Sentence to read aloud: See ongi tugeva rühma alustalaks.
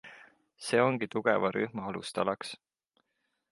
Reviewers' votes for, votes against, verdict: 2, 0, accepted